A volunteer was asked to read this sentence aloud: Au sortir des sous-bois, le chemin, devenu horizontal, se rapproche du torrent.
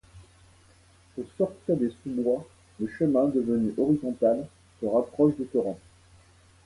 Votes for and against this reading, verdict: 2, 0, accepted